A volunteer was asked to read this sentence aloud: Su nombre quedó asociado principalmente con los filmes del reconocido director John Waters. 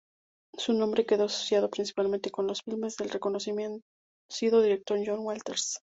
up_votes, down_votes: 0, 2